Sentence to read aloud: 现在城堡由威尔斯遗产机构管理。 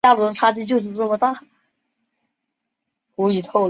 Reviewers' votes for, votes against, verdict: 0, 2, rejected